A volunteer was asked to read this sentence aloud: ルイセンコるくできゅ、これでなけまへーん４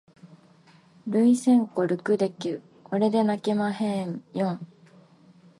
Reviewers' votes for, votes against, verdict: 0, 2, rejected